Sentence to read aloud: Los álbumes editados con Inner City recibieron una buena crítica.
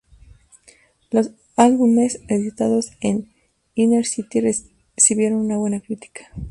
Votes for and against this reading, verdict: 2, 0, accepted